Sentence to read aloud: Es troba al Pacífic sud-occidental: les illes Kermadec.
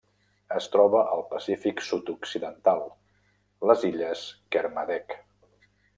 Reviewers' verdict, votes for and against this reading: accepted, 3, 0